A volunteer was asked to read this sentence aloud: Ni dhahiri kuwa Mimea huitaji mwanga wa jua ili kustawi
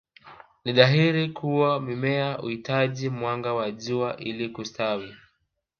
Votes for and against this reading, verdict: 0, 2, rejected